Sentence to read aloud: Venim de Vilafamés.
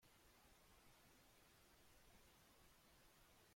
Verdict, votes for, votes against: rejected, 0, 2